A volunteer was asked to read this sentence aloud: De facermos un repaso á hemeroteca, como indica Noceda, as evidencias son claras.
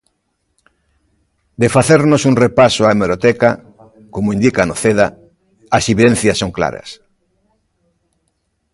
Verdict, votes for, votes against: rejected, 1, 2